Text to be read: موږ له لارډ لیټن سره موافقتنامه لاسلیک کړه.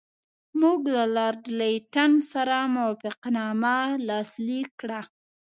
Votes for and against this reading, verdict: 2, 0, accepted